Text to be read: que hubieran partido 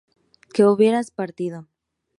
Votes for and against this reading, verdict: 2, 0, accepted